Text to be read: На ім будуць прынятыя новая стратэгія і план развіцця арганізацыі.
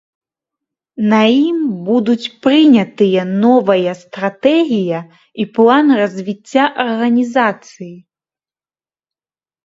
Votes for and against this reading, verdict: 1, 2, rejected